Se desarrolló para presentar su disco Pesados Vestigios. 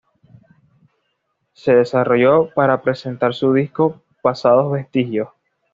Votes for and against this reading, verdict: 1, 2, rejected